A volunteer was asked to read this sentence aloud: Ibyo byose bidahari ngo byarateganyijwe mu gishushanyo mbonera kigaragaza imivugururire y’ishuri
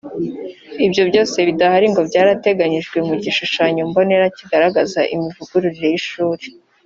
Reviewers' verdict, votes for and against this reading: accepted, 2, 0